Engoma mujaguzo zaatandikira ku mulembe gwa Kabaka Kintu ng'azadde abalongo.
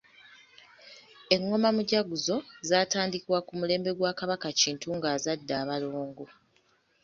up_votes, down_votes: 1, 2